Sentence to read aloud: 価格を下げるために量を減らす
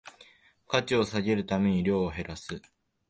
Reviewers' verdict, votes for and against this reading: rejected, 0, 2